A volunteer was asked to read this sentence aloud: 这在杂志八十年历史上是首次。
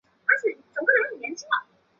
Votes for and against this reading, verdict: 2, 6, rejected